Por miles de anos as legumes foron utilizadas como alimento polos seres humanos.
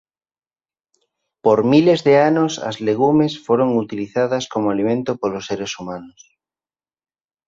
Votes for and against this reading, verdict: 3, 0, accepted